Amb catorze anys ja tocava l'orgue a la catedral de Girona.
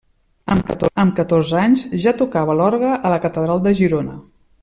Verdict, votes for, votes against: rejected, 1, 2